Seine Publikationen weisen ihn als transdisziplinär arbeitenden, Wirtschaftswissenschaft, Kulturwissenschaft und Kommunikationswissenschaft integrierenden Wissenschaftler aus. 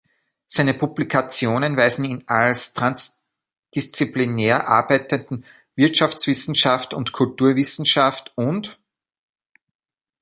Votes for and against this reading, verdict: 0, 2, rejected